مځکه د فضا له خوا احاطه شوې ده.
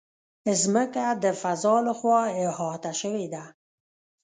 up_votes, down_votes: 1, 2